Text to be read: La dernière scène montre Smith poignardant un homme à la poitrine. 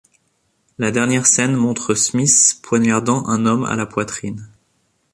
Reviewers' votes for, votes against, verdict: 2, 0, accepted